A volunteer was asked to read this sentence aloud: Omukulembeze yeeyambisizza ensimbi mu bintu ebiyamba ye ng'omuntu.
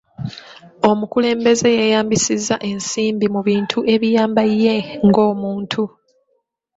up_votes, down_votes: 2, 0